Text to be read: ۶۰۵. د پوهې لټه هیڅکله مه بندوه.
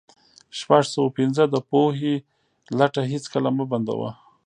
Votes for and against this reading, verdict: 0, 2, rejected